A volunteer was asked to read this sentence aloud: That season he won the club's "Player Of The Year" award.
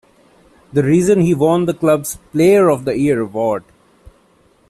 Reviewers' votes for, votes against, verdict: 0, 2, rejected